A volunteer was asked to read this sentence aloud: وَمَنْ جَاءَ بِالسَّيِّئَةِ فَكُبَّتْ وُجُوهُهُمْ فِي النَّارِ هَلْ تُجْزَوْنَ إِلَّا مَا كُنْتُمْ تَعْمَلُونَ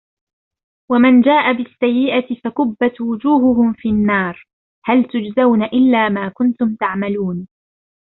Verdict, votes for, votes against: accepted, 2, 0